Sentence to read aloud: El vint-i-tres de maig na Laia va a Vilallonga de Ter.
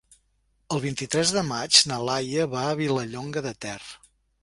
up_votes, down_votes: 3, 0